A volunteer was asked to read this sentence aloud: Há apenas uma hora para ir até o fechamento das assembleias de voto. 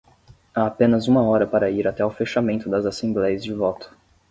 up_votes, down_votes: 10, 0